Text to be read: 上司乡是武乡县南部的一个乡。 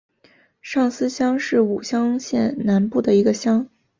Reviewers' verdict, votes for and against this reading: accepted, 2, 0